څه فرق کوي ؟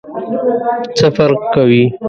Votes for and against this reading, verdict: 1, 2, rejected